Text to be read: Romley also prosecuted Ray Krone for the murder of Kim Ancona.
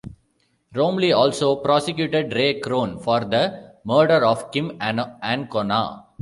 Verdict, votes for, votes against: rejected, 0, 2